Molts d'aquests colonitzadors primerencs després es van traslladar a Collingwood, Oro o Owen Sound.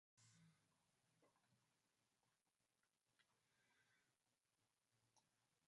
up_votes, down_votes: 1, 3